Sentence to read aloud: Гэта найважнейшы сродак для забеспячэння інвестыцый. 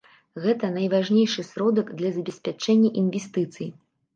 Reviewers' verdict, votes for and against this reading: accepted, 2, 0